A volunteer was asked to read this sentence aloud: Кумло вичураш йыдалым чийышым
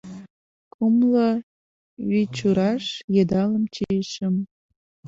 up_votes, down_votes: 2, 0